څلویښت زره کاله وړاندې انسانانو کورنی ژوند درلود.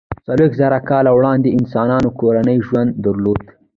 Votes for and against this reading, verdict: 1, 2, rejected